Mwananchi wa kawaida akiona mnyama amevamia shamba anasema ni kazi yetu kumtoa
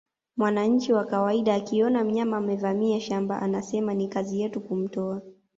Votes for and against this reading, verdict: 2, 0, accepted